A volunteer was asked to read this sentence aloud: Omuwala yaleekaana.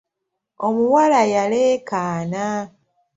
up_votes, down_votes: 0, 2